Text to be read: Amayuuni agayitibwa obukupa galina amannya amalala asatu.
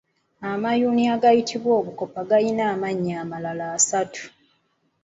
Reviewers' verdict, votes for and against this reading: rejected, 1, 2